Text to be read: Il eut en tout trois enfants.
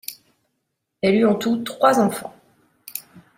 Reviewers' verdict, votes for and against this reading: rejected, 0, 2